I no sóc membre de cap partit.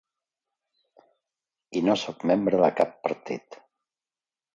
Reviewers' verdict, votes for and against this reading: accepted, 2, 0